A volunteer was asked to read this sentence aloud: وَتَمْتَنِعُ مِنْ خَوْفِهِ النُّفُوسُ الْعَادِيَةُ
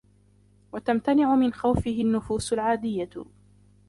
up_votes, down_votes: 0, 2